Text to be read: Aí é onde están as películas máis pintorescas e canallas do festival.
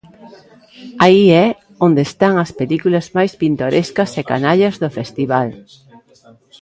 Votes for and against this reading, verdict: 2, 0, accepted